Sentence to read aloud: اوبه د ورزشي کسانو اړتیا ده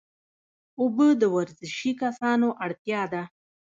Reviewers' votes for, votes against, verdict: 2, 1, accepted